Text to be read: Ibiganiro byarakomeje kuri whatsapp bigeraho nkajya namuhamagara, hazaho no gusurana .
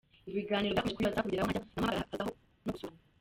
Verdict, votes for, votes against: rejected, 0, 2